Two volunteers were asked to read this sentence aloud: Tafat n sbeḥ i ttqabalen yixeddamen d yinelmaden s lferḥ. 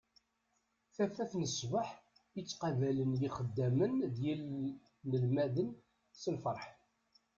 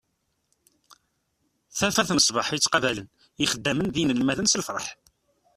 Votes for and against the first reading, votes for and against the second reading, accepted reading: 1, 2, 2, 1, second